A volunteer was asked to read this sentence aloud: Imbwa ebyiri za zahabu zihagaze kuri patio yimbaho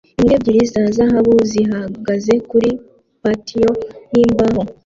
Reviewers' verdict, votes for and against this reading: accepted, 2, 0